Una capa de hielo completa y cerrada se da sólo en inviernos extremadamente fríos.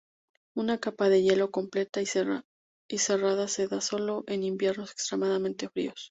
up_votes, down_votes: 0, 2